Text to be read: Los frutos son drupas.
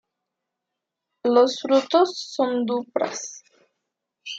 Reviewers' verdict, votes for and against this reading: rejected, 1, 2